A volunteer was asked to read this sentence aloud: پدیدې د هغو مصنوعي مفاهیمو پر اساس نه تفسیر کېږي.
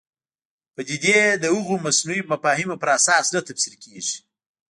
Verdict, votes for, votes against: accepted, 2, 0